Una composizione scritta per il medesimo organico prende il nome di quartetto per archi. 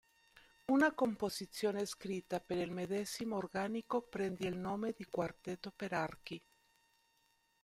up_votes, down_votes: 2, 0